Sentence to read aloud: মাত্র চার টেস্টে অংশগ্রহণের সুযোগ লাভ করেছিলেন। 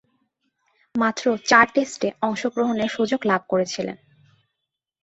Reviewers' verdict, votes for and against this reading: accepted, 2, 0